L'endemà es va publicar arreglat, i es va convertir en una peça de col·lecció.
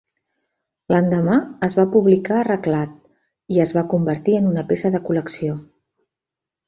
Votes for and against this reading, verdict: 2, 0, accepted